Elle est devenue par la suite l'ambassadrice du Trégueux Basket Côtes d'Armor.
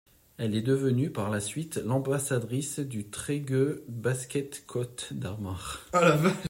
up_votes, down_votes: 1, 2